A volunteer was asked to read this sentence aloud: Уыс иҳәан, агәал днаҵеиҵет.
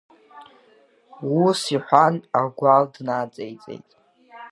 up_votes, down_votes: 2, 0